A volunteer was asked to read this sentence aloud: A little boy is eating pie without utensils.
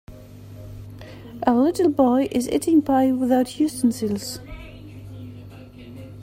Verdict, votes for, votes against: accepted, 2, 1